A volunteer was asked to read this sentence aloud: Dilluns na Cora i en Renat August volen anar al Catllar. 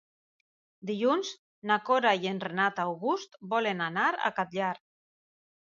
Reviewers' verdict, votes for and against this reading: rejected, 1, 2